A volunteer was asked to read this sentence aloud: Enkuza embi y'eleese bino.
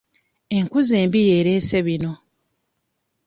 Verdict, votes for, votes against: rejected, 1, 2